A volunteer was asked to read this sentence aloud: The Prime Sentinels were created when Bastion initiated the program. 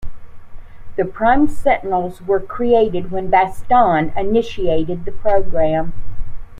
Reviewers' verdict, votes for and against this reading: rejected, 1, 2